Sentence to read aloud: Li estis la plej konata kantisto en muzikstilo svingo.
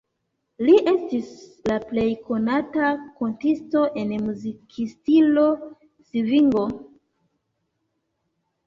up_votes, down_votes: 0, 2